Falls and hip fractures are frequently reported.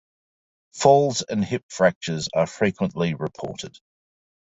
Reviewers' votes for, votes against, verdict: 2, 0, accepted